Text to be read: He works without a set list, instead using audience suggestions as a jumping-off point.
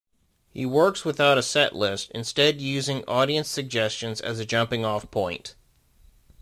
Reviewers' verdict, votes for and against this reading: accepted, 2, 0